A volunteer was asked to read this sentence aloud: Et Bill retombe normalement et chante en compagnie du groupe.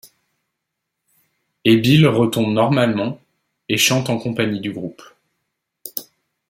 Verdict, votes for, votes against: accepted, 2, 0